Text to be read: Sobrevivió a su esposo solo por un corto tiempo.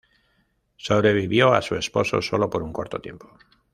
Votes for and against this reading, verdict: 2, 0, accepted